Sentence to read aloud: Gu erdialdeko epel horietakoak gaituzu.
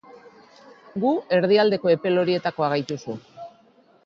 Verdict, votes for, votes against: accepted, 2, 0